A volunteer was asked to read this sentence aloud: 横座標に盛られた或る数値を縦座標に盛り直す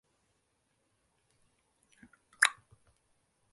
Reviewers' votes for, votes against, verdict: 0, 2, rejected